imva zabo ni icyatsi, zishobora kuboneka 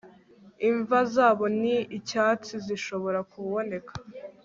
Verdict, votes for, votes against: accepted, 2, 0